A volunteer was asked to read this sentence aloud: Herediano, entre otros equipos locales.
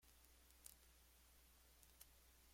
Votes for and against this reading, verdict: 0, 2, rejected